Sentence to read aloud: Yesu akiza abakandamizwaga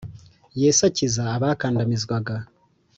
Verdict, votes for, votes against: accepted, 2, 0